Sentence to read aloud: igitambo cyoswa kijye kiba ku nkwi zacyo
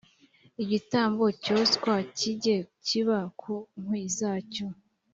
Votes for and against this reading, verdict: 2, 0, accepted